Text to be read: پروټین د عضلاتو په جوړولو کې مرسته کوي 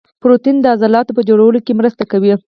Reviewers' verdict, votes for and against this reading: accepted, 4, 2